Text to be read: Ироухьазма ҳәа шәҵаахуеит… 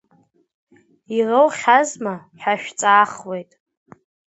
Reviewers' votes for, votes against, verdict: 2, 0, accepted